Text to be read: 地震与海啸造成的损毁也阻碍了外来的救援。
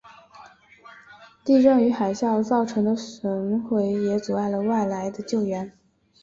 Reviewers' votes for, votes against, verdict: 2, 0, accepted